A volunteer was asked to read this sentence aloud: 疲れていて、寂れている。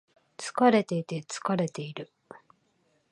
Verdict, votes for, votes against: rejected, 0, 2